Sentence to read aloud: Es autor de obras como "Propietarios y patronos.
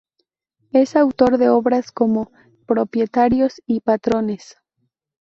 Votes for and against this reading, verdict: 2, 2, rejected